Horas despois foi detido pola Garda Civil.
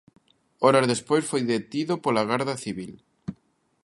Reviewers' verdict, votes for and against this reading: accepted, 2, 0